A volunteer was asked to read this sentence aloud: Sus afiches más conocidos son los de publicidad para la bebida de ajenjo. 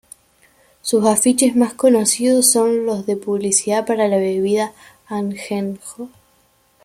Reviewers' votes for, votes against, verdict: 1, 2, rejected